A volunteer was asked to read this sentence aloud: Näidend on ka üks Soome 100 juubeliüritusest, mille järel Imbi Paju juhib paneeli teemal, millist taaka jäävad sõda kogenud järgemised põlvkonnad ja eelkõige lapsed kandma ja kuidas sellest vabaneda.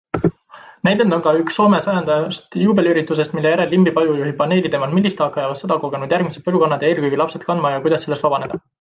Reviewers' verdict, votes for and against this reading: rejected, 0, 2